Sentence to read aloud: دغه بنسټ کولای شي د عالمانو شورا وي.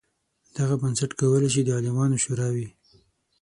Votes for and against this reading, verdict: 6, 0, accepted